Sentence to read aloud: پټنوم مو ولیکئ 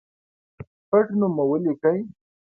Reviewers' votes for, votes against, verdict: 2, 0, accepted